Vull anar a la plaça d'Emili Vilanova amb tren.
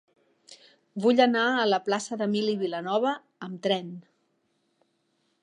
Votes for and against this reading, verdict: 3, 0, accepted